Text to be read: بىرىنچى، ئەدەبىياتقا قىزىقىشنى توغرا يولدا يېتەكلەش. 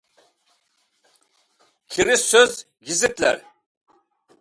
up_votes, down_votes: 0, 2